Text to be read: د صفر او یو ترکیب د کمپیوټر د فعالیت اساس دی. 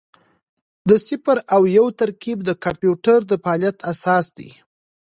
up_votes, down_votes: 2, 0